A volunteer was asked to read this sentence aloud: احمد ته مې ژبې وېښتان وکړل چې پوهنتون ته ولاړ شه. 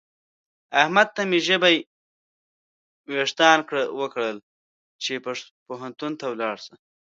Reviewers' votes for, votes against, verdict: 0, 2, rejected